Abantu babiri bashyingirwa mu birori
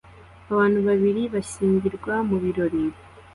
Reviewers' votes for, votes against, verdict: 2, 0, accepted